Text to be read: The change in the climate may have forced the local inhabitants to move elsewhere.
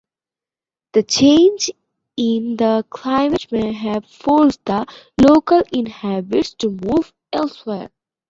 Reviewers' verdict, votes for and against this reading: rejected, 0, 2